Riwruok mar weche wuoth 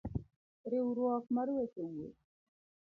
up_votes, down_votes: 1, 2